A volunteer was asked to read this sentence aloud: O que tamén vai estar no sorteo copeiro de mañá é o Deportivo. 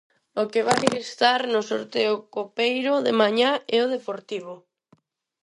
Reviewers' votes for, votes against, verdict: 0, 6, rejected